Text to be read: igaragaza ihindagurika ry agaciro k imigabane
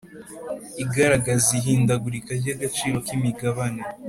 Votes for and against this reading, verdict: 2, 0, accepted